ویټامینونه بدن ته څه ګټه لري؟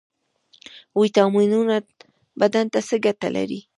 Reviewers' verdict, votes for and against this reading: accepted, 2, 1